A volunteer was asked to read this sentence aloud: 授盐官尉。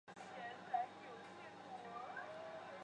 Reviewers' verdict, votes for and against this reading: rejected, 0, 2